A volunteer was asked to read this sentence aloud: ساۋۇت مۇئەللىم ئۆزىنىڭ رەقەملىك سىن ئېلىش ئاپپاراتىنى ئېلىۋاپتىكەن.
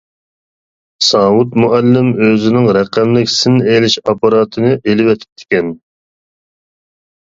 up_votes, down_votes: 0, 2